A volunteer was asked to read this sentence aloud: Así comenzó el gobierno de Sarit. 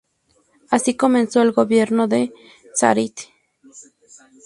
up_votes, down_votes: 2, 0